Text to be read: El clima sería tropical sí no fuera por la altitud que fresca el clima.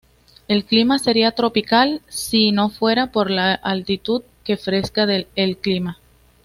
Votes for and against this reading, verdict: 2, 1, accepted